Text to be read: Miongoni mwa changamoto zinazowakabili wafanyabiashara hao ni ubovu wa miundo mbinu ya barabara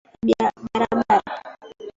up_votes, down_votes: 0, 2